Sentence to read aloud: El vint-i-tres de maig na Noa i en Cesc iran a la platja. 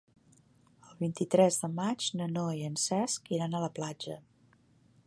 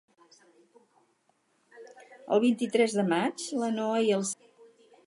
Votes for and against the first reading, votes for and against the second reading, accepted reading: 2, 0, 2, 4, first